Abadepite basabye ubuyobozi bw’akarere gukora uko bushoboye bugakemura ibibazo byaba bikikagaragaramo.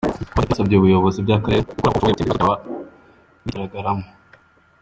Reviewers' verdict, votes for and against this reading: rejected, 1, 2